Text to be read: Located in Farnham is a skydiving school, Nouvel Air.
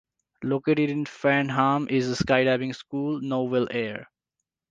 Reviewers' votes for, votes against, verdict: 2, 0, accepted